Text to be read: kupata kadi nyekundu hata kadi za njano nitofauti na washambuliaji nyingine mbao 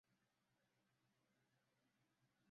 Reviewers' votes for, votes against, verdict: 0, 2, rejected